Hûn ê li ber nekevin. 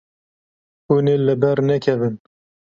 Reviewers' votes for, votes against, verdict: 2, 0, accepted